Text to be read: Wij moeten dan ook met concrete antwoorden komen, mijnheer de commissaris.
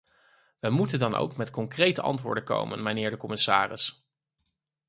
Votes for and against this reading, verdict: 4, 0, accepted